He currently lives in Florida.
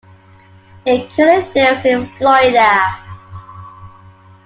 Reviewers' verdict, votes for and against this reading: rejected, 0, 2